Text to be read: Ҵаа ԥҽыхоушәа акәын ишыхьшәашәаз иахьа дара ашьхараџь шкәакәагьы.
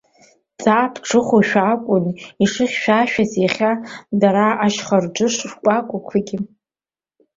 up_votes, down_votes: 0, 2